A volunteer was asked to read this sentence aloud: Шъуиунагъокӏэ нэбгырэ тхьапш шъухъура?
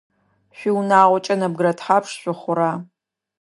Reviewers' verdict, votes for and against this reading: accepted, 2, 0